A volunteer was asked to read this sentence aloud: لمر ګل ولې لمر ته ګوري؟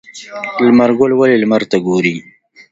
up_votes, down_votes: 2, 0